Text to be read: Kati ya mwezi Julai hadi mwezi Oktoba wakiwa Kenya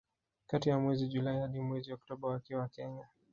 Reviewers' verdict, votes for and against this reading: rejected, 0, 2